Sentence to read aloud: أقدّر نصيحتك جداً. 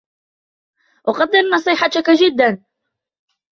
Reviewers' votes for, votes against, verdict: 2, 0, accepted